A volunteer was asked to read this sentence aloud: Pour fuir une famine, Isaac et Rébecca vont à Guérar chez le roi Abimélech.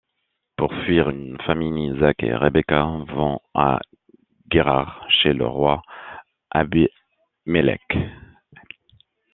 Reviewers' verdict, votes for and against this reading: rejected, 0, 2